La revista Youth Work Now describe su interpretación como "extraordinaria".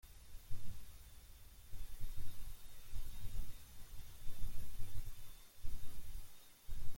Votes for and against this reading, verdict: 0, 2, rejected